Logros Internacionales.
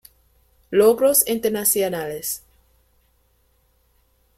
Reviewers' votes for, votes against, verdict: 1, 2, rejected